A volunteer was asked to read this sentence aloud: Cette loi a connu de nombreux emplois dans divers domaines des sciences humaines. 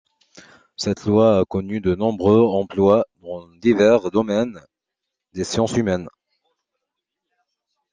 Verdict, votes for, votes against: accepted, 2, 0